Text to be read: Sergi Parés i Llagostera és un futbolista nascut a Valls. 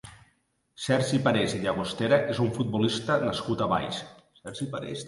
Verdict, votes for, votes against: rejected, 0, 3